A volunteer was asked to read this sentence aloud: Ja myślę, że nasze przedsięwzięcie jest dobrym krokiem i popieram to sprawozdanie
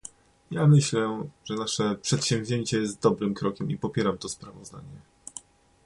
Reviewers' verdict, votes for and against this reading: accepted, 2, 0